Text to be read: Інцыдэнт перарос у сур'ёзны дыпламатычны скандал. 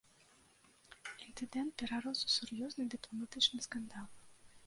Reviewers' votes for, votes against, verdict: 1, 2, rejected